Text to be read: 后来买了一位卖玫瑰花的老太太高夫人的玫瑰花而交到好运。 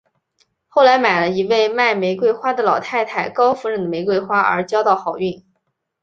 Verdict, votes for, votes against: accepted, 4, 0